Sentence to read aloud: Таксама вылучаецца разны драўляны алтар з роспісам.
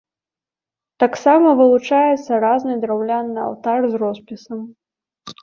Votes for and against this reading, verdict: 0, 2, rejected